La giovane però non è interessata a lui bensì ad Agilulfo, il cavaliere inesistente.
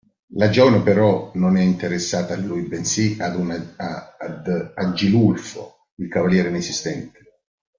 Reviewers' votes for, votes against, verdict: 0, 2, rejected